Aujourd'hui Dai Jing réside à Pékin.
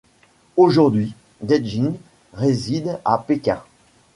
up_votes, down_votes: 2, 0